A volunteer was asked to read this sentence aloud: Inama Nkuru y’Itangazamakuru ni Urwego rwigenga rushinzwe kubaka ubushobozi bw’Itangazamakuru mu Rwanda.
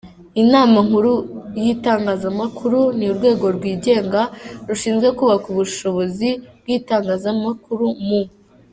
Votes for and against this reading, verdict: 0, 2, rejected